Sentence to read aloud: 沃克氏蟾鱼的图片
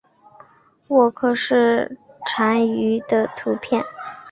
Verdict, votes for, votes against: accepted, 2, 0